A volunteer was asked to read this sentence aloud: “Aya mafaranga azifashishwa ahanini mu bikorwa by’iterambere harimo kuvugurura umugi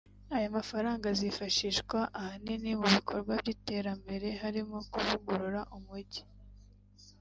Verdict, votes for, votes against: accepted, 2, 0